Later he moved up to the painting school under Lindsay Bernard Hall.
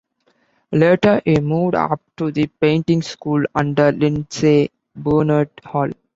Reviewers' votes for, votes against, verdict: 1, 2, rejected